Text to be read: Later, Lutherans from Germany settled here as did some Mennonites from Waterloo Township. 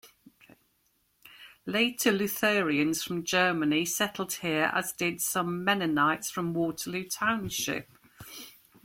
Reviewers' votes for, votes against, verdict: 3, 2, accepted